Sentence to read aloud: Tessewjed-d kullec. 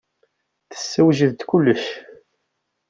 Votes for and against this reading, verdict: 2, 0, accepted